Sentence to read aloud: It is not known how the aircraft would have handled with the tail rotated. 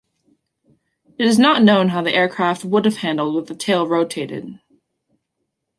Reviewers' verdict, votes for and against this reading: accepted, 2, 1